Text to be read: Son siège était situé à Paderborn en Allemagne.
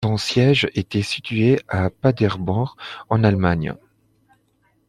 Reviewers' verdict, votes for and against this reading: rejected, 0, 2